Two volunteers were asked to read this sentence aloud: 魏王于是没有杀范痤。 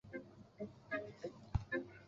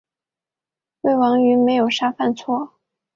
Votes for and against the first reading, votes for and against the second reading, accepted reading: 2, 0, 3, 5, first